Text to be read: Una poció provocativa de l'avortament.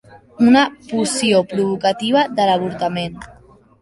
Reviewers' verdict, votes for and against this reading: accepted, 2, 1